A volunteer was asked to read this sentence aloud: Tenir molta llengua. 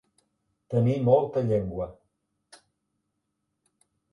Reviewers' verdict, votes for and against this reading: accepted, 2, 0